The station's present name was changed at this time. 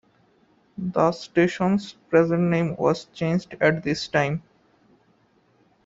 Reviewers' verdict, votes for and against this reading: accepted, 2, 0